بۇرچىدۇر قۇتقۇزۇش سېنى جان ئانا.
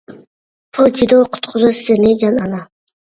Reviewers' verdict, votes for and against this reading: rejected, 0, 2